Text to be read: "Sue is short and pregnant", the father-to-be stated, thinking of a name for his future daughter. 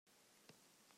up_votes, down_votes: 0, 2